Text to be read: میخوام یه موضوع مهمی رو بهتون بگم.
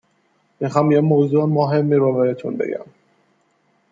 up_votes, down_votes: 2, 0